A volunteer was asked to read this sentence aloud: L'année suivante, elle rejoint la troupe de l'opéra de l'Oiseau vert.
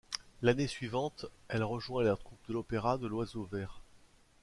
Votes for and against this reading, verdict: 1, 2, rejected